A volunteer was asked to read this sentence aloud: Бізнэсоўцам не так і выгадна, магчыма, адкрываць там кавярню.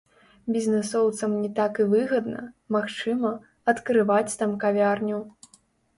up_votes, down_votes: 2, 0